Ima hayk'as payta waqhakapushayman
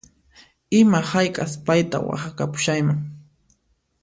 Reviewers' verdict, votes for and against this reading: accepted, 2, 0